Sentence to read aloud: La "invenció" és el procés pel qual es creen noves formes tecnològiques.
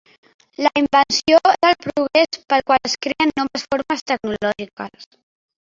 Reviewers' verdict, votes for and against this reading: accepted, 2, 0